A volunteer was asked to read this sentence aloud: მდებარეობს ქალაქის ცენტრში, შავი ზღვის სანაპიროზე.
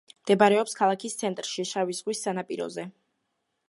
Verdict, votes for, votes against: accepted, 2, 0